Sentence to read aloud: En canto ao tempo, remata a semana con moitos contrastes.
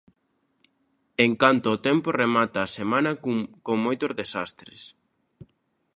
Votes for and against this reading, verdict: 0, 2, rejected